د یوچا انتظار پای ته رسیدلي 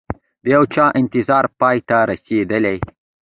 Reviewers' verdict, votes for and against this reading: accepted, 2, 1